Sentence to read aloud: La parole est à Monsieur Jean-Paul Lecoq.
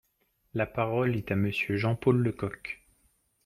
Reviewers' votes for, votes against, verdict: 2, 0, accepted